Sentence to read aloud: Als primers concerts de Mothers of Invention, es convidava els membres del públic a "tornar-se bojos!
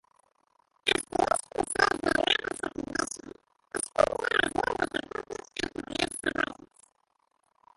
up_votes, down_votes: 0, 2